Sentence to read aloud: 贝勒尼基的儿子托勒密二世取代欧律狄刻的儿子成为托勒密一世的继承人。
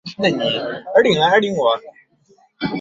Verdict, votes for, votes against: rejected, 1, 2